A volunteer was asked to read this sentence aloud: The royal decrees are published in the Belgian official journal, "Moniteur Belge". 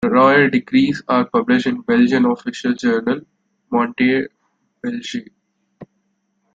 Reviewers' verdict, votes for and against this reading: rejected, 0, 2